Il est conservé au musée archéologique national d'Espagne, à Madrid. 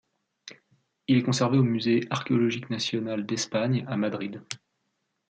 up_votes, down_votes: 2, 0